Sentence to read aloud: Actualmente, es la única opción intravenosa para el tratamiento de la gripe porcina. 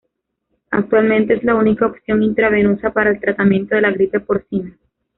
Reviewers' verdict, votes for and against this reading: rejected, 0, 2